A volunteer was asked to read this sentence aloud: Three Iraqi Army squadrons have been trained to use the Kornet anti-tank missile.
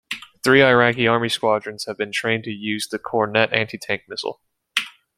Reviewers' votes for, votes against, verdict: 2, 1, accepted